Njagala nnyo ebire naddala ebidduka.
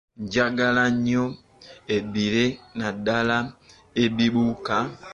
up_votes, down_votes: 0, 2